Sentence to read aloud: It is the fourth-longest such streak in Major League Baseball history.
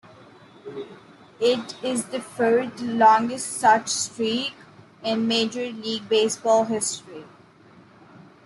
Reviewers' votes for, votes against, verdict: 0, 2, rejected